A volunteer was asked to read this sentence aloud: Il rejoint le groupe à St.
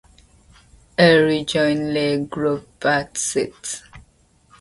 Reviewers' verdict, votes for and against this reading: rejected, 0, 2